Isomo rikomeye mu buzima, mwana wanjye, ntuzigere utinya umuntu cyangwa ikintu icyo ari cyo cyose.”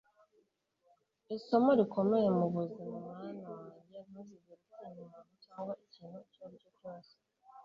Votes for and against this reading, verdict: 1, 2, rejected